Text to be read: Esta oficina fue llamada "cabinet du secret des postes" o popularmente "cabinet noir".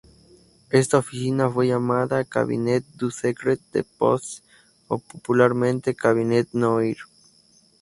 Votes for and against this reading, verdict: 0, 2, rejected